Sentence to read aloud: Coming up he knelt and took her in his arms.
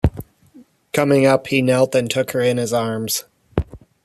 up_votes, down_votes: 2, 0